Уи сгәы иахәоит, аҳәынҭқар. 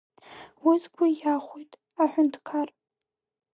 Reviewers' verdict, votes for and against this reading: rejected, 0, 2